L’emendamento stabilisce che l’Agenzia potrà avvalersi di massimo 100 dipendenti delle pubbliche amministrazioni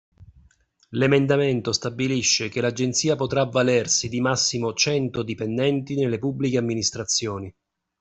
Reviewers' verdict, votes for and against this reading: rejected, 0, 2